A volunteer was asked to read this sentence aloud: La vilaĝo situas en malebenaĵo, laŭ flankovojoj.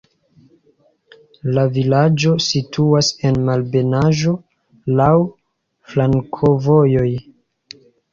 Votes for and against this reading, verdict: 1, 2, rejected